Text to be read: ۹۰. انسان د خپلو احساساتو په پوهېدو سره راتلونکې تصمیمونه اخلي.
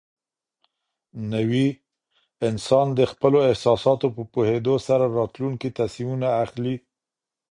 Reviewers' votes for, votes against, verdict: 0, 2, rejected